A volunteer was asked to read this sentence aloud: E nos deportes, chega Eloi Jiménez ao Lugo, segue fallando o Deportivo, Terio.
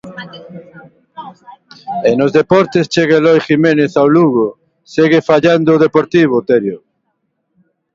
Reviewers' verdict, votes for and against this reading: accepted, 2, 1